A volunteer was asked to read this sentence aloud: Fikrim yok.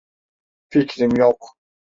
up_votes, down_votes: 2, 0